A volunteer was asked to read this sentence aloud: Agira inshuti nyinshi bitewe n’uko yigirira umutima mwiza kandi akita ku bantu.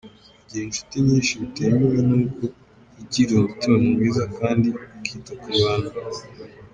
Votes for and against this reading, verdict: 0, 2, rejected